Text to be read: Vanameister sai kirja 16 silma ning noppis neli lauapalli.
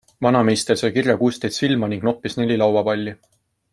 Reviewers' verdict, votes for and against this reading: rejected, 0, 2